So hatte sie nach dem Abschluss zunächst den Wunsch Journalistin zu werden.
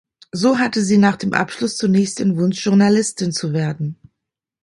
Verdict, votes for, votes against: accepted, 2, 0